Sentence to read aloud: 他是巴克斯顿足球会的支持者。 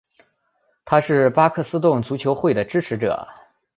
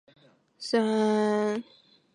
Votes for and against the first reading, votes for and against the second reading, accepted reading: 2, 0, 0, 5, first